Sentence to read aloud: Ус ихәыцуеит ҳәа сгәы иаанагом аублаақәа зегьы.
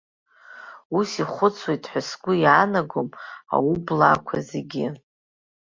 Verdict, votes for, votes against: accepted, 2, 1